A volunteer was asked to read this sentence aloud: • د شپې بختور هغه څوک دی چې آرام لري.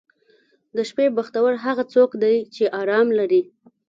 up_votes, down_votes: 2, 1